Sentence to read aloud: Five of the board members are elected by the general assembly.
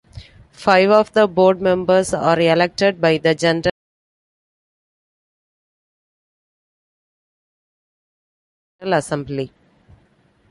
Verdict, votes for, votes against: rejected, 0, 2